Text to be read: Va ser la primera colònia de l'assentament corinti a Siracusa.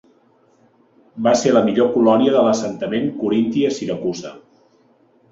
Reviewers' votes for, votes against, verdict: 0, 2, rejected